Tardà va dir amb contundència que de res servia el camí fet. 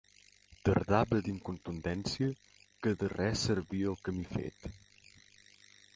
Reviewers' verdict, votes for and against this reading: accepted, 2, 1